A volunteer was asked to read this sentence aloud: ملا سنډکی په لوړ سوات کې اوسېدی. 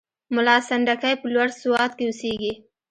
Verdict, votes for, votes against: accepted, 2, 0